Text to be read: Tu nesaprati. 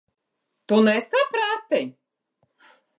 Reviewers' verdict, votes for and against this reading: accepted, 3, 2